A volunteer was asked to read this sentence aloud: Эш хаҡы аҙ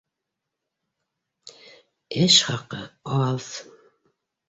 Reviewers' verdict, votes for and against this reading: accepted, 2, 0